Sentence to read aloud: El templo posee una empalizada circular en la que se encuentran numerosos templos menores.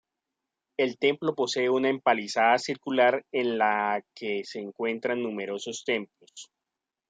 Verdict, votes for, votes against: rejected, 0, 2